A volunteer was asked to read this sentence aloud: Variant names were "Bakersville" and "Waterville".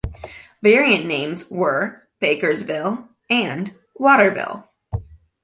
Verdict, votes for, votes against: accepted, 2, 0